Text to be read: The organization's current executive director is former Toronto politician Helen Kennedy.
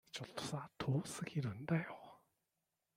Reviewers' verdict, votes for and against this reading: rejected, 0, 2